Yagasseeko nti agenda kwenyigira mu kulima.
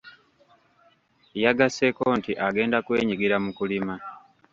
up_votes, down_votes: 1, 2